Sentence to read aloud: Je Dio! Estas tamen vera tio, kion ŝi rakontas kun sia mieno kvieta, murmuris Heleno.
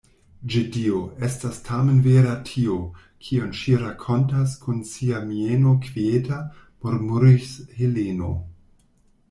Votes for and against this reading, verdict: 0, 2, rejected